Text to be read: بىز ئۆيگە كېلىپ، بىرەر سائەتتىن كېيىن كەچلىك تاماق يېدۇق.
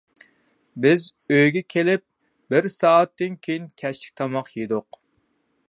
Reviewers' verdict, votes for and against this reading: rejected, 0, 2